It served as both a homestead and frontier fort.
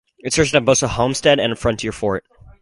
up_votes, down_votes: 2, 0